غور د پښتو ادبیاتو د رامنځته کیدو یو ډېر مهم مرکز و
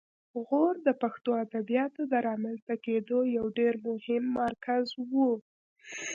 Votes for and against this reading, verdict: 2, 0, accepted